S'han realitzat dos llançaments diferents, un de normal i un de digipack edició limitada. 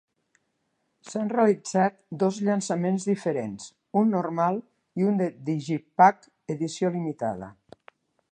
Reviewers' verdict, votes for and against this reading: rejected, 1, 2